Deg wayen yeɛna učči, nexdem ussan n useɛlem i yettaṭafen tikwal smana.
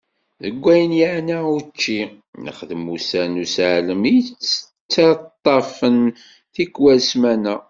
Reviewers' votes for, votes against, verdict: 1, 2, rejected